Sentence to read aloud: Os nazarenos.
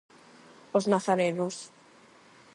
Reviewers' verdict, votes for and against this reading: accepted, 8, 0